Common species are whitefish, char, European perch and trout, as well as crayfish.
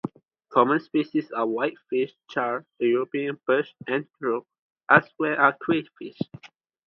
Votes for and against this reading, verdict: 2, 2, rejected